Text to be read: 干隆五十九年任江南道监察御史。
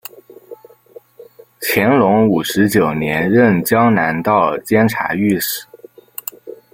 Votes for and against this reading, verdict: 0, 2, rejected